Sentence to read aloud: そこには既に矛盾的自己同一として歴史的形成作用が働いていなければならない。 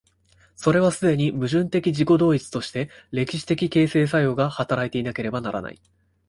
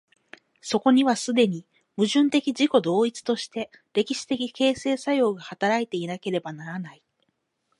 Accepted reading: second